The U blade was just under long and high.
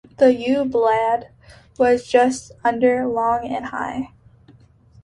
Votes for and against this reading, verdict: 2, 3, rejected